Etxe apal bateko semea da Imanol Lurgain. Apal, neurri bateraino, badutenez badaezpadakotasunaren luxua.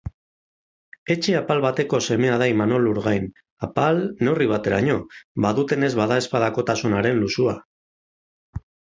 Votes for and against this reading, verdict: 6, 0, accepted